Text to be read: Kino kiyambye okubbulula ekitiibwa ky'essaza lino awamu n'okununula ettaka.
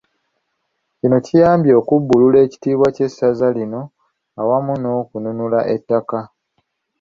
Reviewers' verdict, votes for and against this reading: accepted, 2, 0